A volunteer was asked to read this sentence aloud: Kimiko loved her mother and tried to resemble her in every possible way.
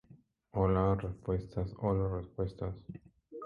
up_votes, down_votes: 0, 2